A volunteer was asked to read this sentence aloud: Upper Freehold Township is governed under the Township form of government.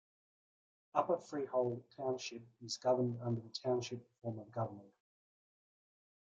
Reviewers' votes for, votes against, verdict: 2, 0, accepted